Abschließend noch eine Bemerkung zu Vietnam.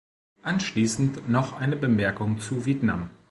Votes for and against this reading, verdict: 0, 2, rejected